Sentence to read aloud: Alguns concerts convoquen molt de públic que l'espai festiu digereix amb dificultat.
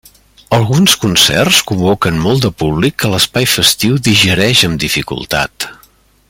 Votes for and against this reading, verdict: 3, 0, accepted